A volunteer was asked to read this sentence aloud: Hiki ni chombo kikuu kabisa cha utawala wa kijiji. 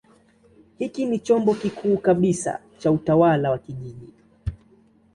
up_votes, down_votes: 2, 0